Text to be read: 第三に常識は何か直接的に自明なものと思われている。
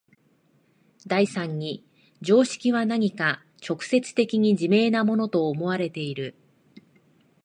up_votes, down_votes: 2, 0